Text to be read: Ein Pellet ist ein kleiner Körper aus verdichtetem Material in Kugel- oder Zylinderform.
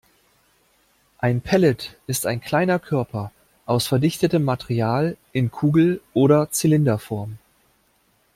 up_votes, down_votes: 2, 0